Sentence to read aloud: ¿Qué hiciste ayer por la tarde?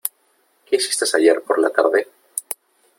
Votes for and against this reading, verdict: 2, 3, rejected